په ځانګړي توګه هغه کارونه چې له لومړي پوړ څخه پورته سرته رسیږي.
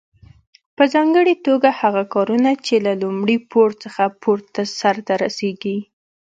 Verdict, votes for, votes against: accepted, 2, 0